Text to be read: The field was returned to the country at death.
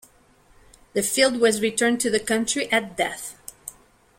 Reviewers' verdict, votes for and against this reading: accepted, 2, 0